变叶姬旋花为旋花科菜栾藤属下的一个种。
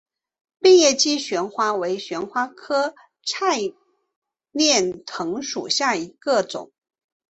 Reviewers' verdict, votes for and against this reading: accepted, 2, 1